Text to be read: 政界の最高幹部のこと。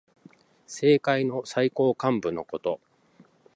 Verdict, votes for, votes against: accepted, 2, 1